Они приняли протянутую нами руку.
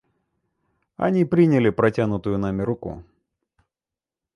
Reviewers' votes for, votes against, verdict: 2, 0, accepted